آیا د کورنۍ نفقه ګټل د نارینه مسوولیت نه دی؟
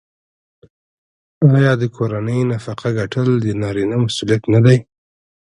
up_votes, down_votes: 2, 0